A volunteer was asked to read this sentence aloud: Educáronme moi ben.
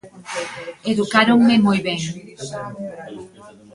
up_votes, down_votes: 2, 0